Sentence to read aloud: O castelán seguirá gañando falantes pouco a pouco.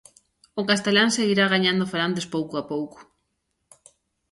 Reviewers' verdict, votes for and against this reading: accepted, 2, 0